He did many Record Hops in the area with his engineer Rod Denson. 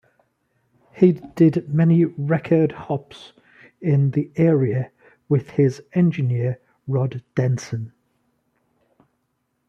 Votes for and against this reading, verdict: 2, 0, accepted